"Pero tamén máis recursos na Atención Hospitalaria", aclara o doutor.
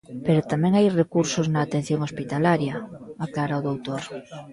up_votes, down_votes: 0, 2